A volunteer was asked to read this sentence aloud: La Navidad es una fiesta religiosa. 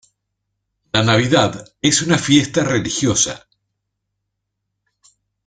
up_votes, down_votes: 2, 0